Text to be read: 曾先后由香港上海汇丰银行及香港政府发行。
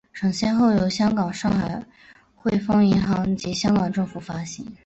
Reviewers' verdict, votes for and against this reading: accepted, 3, 0